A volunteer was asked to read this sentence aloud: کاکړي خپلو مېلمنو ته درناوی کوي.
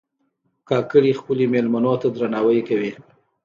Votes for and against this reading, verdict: 2, 0, accepted